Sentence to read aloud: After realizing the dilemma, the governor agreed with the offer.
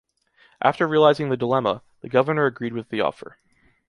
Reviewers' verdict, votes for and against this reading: accepted, 2, 0